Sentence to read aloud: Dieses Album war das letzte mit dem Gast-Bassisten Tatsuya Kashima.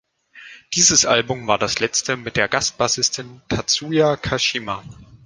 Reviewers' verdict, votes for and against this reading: rejected, 1, 2